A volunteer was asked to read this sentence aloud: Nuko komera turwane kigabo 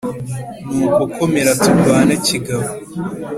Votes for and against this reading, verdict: 2, 0, accepted